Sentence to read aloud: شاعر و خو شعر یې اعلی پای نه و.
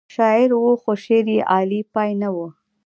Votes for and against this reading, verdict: 2, 1, accepted